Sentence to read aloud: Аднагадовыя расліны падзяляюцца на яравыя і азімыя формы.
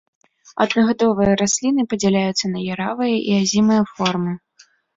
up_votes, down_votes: 1, 3